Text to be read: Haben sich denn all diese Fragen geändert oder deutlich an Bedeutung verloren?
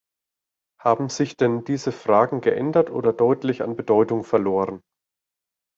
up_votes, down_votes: 1, 2